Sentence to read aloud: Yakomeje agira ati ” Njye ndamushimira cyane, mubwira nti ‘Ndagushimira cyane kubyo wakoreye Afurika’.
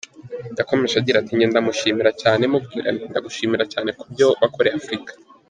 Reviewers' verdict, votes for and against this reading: accepted, 2, 0